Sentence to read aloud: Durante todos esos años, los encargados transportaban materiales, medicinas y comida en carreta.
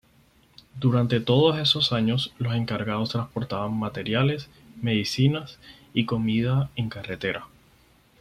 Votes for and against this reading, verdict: 2, 4, rejected